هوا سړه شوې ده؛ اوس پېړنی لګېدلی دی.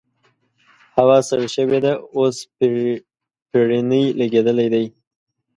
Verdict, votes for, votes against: rejected, 1, 2